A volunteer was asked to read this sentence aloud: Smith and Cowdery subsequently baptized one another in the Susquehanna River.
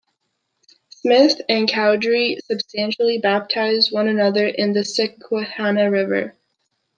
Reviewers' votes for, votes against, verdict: 0, 2, rejected